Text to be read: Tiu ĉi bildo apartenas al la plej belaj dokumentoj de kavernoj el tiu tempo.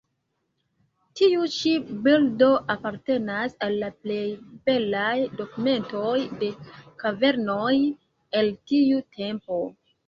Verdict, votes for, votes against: rejected, 0, 2